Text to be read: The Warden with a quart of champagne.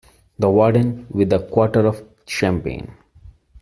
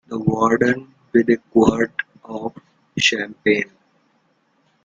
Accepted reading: second